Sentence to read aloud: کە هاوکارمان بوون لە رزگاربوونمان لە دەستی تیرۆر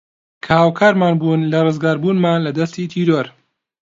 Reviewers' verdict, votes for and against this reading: accepted, 2, 0